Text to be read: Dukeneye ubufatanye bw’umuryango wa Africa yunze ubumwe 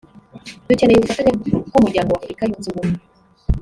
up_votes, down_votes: 1, 2